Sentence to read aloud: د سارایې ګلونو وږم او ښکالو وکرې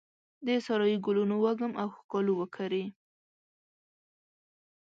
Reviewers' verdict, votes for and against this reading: accepted, 2, 0